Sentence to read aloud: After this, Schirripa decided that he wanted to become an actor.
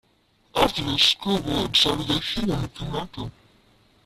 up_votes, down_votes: 0, 2